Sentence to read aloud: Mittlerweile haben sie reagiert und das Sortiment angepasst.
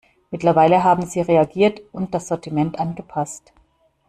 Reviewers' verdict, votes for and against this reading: accepted, 2, 0